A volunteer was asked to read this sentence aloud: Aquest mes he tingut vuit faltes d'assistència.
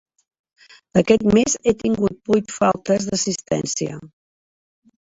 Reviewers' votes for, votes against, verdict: 3, 1, accepted